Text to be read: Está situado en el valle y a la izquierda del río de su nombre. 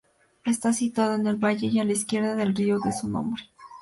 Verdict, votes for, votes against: accepted, 2, 0